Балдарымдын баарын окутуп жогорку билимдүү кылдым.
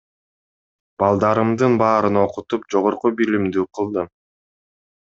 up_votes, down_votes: 2, 0